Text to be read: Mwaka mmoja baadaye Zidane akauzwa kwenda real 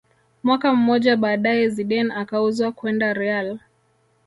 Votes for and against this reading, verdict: 1, 2, rejected